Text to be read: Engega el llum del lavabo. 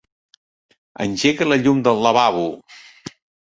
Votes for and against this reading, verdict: 0, 2, rejected